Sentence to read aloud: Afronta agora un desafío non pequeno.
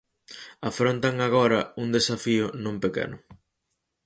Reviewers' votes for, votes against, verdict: 2, 4, rejected